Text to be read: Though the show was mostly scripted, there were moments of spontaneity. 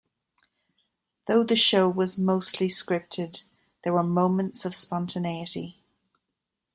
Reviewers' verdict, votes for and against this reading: accepted, 2, 0